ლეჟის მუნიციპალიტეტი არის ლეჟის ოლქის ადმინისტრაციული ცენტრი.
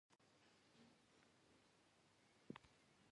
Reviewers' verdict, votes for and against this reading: rejected, 1, 2